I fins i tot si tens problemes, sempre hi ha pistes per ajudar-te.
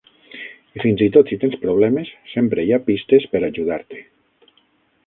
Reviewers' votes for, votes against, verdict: 0, 6, rejected